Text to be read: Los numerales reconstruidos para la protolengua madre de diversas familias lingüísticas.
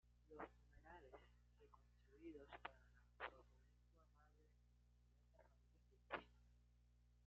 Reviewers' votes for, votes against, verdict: 0, 2, rejected